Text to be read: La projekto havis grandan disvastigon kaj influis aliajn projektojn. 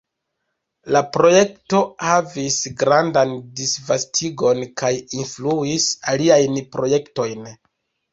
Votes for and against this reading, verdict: 1, 2, rejected